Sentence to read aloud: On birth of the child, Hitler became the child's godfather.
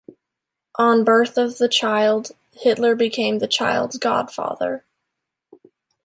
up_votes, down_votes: 2, 0